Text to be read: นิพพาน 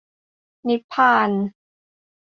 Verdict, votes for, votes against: accepted, 2, 0